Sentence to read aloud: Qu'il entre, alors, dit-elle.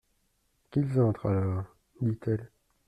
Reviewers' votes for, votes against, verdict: 1, 2, rejected